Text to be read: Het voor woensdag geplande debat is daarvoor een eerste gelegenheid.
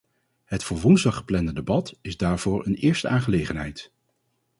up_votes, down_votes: 2, 4